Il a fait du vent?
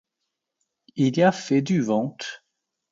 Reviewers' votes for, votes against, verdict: 1, 2, rejected